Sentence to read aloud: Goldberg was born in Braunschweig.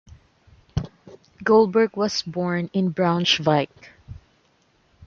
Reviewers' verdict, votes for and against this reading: accepted, 2, 1